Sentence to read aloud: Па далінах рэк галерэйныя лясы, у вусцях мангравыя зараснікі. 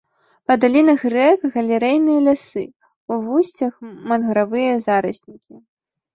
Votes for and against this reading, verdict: 1, 2, rejected